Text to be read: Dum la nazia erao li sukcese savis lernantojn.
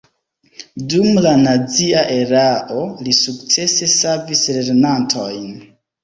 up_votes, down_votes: 1, 2